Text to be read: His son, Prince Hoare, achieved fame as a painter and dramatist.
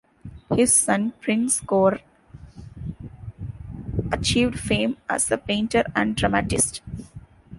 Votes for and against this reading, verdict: 1, 2, rejected